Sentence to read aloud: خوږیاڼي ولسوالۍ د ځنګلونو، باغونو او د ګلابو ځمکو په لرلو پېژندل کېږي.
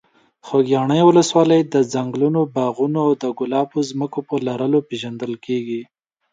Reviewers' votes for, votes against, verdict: 2, 0, accepted